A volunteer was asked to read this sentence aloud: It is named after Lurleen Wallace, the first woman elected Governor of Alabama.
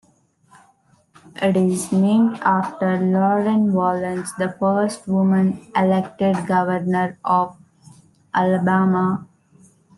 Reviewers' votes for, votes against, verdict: 2, 1, accepted